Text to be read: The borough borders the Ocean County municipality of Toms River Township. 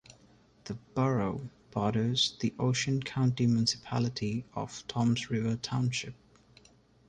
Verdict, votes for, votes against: rejected, 1, 2